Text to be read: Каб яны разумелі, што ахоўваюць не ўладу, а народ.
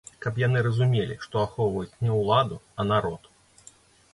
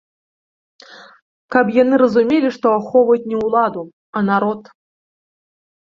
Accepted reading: second